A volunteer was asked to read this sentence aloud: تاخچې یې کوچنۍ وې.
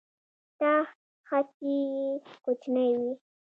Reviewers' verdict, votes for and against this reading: rejected, 1, 2